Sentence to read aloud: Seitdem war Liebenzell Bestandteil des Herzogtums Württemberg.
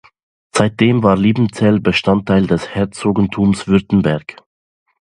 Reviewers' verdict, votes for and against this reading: rejected, 0, 2